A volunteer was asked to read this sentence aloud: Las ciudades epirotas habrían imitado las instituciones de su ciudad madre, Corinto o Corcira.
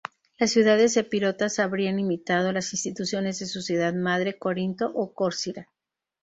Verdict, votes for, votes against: accepted, 4, 0